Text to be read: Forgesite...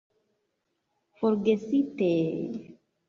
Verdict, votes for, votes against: accepted, 4, 1